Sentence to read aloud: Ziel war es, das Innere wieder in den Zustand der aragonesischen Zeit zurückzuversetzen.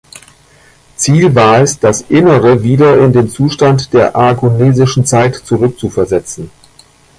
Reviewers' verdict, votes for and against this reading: rejected, 1, 2